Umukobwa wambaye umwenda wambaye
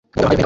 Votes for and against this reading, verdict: 0, 2, rejected